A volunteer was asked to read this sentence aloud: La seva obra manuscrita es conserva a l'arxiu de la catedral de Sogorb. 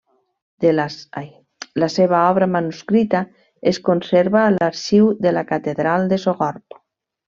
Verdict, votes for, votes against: rejected, 1, 2